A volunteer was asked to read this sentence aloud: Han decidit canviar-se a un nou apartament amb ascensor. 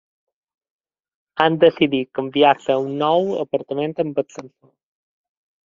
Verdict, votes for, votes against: rejected, 1, 2